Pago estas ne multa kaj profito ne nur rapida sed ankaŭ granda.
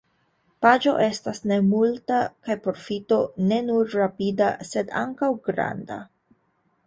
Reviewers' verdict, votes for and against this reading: rejected, 0, 2